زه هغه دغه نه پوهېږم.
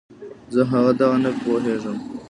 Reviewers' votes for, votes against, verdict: 2, 0, accepted